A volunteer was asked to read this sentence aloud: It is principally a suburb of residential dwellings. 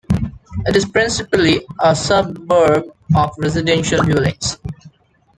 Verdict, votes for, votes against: accepted, 2, 0